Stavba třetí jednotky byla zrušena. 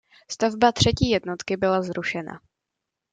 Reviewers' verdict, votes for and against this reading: accepted, 2, 0